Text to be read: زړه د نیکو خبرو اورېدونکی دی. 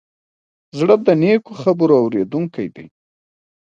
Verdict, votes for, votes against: accepted, 3, 1